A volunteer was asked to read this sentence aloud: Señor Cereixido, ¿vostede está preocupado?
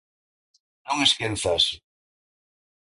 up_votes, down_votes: 0, 2